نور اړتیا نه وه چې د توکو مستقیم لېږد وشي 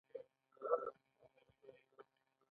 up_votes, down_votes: 1, 2